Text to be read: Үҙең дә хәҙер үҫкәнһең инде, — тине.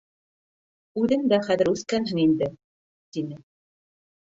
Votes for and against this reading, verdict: 3, 1, accepted